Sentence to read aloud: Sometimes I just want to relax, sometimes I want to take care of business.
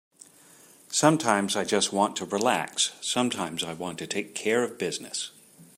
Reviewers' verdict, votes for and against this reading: accepted, 4, 0